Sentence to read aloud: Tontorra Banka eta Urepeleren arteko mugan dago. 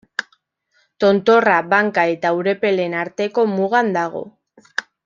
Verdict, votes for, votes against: rejected, 0, 2